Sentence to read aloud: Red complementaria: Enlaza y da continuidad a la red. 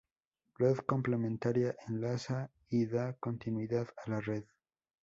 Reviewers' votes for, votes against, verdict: 2, 0, accepted